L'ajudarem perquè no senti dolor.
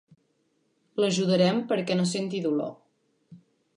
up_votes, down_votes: 4, 0